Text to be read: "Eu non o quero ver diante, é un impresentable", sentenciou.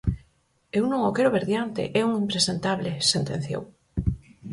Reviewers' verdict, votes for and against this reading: accepted, 4, 0